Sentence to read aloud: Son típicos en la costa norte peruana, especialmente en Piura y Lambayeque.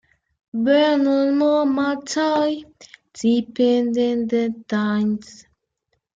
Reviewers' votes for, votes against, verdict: 0, 3, rejected